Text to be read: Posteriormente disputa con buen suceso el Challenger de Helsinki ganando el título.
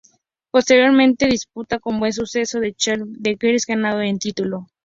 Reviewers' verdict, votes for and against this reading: rejected, 2, 2